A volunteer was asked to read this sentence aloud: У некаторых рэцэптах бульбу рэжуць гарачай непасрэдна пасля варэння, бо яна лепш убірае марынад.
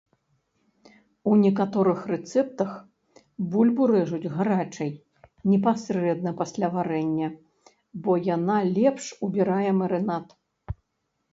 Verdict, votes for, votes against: accepted, 2, 0